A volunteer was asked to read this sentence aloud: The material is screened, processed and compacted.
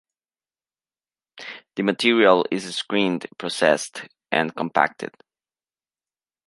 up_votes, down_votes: 2, 1